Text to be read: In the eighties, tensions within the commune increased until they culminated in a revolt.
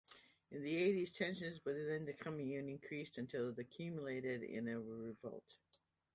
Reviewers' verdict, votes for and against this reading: rejected, 1, 2